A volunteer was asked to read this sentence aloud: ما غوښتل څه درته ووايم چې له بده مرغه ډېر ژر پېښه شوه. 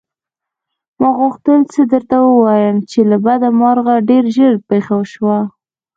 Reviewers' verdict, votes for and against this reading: rejected, 0, 2